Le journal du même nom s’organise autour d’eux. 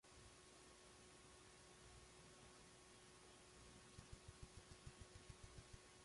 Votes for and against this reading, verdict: 0, 2, rejected